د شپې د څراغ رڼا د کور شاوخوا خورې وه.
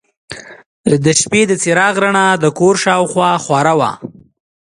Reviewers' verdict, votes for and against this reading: accepted, 2, 0